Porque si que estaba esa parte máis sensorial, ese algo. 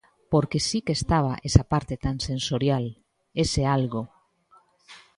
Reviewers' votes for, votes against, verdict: 0, 2, rejected